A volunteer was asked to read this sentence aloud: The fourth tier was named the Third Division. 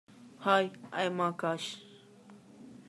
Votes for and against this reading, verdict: 0, 2, rejected